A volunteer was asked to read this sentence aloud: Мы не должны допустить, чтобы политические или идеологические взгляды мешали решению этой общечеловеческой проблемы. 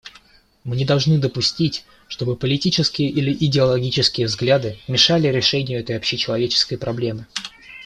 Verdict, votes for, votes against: accepted, 2, 0